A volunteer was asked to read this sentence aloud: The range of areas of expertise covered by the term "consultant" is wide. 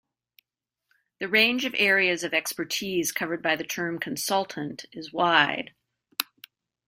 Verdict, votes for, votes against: accepted, 2, 0